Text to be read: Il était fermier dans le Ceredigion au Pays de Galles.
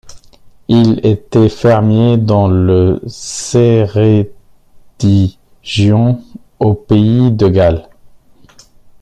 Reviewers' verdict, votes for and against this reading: rejected, 0, 2